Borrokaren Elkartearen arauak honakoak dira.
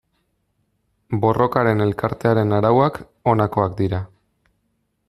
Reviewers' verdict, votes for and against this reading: accepted, 2, 1